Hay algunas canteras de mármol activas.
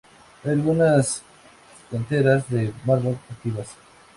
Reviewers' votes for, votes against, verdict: 6, 4, accepted